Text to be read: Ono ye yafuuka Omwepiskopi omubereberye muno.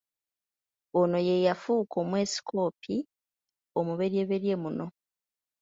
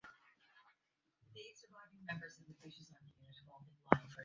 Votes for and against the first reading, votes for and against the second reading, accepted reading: 2, 1, 0, 2, first